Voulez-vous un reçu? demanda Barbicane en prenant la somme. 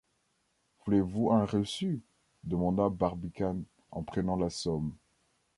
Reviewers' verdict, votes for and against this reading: rejected, 1, 2